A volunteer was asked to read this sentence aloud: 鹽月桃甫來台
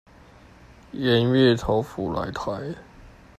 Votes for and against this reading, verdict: 2, 0, accepted